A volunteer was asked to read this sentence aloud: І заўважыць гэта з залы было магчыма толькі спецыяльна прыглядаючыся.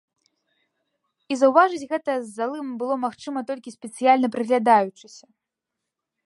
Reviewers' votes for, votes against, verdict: 0, 2, rejected